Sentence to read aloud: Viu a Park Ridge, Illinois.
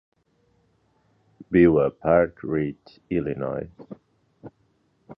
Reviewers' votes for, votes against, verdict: 3, 1, accepted